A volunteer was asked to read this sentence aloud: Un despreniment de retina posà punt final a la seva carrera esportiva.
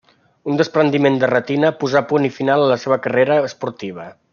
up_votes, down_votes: 2, 1